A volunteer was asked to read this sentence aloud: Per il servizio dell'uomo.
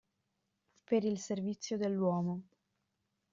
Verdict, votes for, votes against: accepted, 2, 0